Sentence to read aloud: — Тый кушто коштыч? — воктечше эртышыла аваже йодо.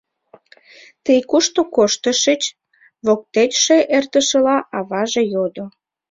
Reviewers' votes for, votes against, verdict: 1, 2, rejected